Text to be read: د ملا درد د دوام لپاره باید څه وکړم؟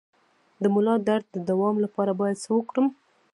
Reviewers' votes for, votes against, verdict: 0, 2, rejected